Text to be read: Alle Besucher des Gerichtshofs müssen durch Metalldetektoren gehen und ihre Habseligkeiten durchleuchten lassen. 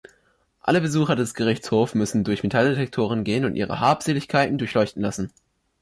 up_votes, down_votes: 2, 4